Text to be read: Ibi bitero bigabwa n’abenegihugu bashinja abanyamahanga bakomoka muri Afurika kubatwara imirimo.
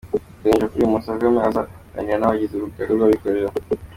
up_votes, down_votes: 0, 3